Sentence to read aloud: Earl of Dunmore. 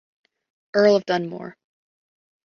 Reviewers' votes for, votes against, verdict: 1, 3, rejected